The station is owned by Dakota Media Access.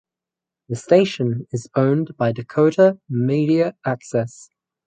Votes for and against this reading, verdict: 4, 0, accepted